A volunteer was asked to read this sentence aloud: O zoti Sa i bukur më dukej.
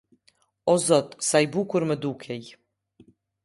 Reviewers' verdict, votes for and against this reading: accepted, 2, 0